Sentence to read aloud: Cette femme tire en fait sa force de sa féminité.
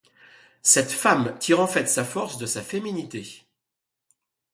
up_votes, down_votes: 2, 0